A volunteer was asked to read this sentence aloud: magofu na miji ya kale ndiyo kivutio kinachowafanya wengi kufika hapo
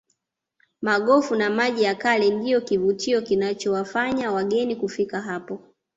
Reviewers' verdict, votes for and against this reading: rejected, 0, 2